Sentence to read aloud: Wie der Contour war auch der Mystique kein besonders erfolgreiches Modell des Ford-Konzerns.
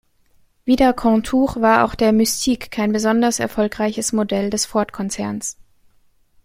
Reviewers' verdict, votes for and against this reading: accepted, 2, 0